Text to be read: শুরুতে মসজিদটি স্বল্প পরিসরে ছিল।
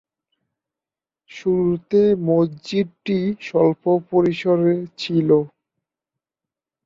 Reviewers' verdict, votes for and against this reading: rejected, 0, 2